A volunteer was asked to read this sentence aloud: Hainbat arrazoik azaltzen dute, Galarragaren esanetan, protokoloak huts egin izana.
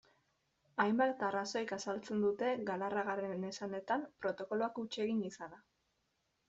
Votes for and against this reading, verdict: 2, 1, accepted